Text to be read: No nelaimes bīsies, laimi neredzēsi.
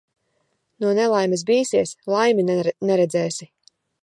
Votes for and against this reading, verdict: 0, 2, rejected